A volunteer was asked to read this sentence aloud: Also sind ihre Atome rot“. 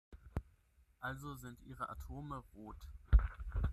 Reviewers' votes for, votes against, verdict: 0, 6, rejected